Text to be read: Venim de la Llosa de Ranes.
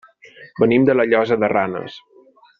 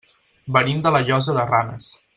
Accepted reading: first